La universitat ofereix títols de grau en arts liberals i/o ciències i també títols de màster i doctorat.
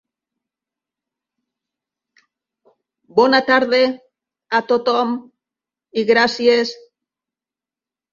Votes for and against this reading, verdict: 0, 2, rejected